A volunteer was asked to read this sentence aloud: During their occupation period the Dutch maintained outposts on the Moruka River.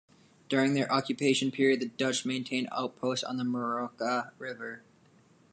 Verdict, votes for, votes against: rejected, 1, 2